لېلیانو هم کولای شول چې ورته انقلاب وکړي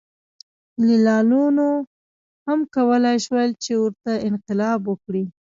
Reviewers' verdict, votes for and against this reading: rejected, 1, 2